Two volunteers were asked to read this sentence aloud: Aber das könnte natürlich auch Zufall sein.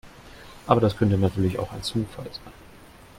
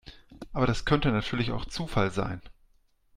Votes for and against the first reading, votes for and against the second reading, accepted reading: 1, 2, 2, 0, second